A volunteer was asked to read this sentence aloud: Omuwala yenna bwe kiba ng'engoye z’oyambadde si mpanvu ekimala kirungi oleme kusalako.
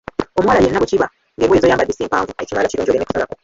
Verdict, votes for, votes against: rejected, 1, 2